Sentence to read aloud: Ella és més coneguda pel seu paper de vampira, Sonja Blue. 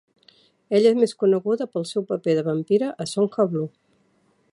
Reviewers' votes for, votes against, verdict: 0, 2, rejected